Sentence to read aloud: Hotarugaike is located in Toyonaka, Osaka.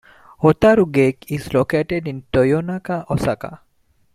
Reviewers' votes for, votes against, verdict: 2, 0, accepted